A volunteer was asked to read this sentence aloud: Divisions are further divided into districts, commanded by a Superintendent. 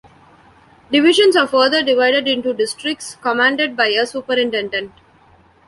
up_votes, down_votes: 0, 2